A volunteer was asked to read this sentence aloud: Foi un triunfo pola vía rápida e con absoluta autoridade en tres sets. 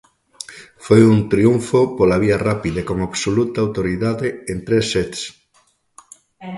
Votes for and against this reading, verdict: 2, 0, accepted